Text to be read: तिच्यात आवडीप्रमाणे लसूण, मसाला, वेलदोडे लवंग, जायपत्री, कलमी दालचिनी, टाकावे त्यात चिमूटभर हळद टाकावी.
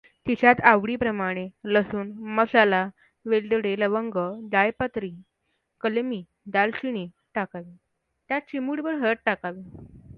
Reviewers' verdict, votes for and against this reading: accepted, 2, 0